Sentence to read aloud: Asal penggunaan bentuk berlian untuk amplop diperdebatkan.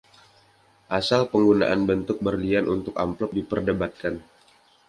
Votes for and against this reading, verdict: 2, 0, accepted